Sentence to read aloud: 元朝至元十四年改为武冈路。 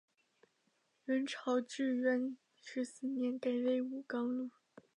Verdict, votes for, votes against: accepted, 2, 1